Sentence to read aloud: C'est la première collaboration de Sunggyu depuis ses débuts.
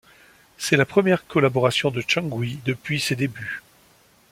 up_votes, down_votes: 2, 0